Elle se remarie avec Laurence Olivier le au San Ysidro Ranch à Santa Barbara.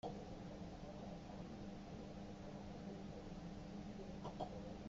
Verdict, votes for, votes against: rejected, 0, 2